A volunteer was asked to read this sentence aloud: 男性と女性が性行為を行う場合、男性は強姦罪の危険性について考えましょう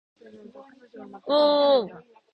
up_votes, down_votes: 0, 2